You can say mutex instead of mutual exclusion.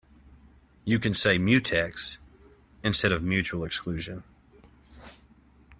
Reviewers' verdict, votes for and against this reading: rejected, 1, 2